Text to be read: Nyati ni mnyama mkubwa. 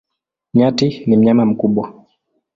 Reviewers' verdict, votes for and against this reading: accepted, 12, 1